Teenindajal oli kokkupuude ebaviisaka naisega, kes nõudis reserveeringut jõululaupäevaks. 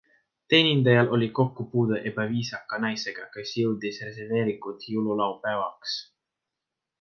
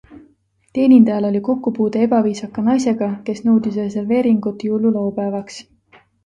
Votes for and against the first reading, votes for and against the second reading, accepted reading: 0, 2, 2, 0, second